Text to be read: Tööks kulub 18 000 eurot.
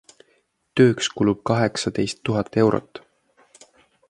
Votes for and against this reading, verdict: 0, 2, rejected